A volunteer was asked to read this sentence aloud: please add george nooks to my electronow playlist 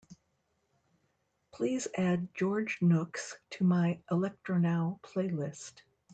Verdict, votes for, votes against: accepted, 2, 0